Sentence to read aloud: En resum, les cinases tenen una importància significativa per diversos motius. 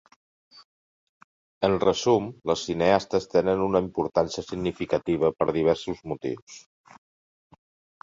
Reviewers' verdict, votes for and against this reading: rejected, 1, 2